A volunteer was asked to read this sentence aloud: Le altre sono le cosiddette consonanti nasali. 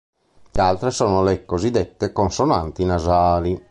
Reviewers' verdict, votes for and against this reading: rejected, 2, 3